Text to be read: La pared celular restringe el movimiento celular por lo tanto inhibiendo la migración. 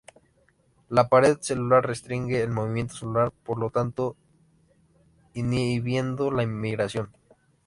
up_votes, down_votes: 0, 2